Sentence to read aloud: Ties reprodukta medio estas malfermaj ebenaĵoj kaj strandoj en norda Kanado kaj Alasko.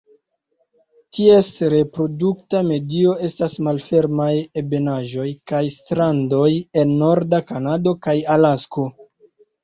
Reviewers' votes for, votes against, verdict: 1, 2, rejected